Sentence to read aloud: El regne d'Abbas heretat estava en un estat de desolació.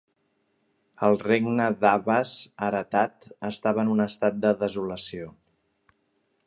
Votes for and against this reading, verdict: 2, 0, accepted